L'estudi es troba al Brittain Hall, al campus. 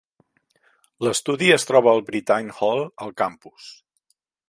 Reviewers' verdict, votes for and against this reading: accepted, 2, 0